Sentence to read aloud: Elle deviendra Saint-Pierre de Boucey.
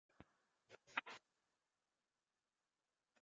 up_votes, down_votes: 0, 2